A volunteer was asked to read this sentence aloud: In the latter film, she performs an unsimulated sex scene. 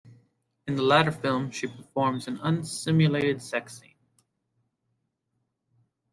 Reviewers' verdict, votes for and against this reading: rejected, 1, 2